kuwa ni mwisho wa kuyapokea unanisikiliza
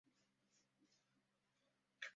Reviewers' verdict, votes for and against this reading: rejected, 0, 2